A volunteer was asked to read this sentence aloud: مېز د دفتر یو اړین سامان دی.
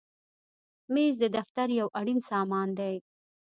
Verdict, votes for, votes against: accepted, 2, 0